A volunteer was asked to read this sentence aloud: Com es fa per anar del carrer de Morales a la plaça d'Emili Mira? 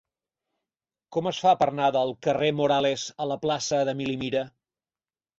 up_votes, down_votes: 2, 4